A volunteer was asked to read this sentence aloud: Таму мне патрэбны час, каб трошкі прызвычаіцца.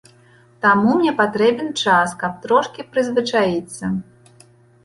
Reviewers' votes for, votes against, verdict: 1, 2, rejected